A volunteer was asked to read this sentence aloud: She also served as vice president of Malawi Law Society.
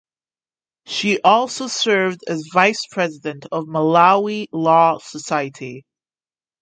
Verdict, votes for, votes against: accepted, 2, 0